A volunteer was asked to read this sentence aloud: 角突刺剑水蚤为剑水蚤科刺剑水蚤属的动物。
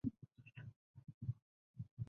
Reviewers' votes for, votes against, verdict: 0, 3, rejected